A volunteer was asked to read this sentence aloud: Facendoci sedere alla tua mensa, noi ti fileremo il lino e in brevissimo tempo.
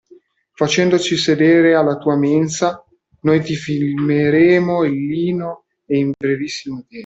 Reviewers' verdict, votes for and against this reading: rejected, 0, 2